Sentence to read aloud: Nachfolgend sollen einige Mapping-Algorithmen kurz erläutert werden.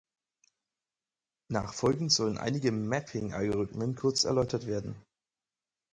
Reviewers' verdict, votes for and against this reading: accepted, 4, 0